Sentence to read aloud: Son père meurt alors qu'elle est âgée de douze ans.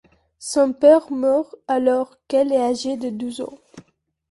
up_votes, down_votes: 2, 0